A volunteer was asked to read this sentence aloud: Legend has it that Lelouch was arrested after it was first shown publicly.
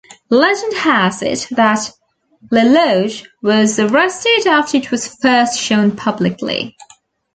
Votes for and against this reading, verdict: 2, 0, accepted